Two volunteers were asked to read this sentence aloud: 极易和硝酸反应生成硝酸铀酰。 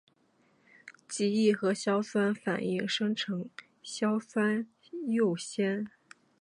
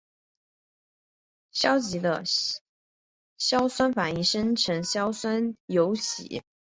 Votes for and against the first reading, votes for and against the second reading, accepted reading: 7, 1, 0, 2, first